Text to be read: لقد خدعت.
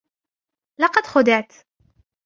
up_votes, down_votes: 2, 1